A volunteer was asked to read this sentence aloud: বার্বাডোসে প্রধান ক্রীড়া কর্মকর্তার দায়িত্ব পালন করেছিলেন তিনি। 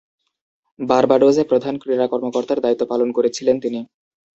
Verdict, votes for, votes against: accepted, 2, 0